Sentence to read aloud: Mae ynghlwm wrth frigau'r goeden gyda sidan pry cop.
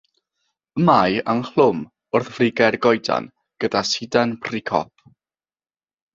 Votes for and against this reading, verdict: 3, 3, rejected